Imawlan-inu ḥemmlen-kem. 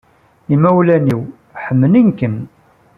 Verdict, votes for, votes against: accepted, 2, 0